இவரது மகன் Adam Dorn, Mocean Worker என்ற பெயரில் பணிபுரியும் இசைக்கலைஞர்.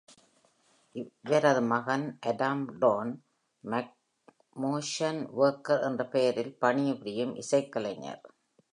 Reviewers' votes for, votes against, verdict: 0, 2, rejected